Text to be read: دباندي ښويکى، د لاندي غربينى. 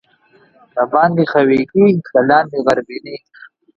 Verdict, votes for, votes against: rejected, 1, 2